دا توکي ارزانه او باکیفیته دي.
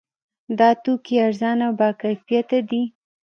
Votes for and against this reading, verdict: 1, 2, rejected